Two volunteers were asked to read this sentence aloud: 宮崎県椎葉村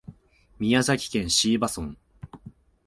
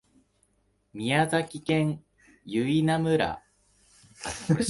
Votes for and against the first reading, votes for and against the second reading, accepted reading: 2, 0, 0, 2, first